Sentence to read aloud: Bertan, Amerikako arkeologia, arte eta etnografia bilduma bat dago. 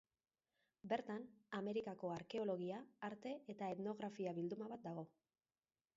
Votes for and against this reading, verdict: 1, 2, rejected